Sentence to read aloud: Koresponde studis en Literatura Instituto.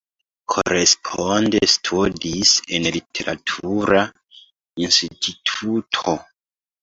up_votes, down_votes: 1, 2